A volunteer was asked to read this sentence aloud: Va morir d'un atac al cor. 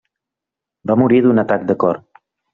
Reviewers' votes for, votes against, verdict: 0, 2, rejected